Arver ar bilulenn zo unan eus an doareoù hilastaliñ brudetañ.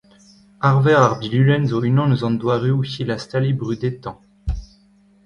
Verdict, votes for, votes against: accepted, 2, 1